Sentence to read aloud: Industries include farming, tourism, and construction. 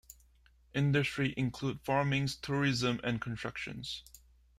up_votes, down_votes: 2, 1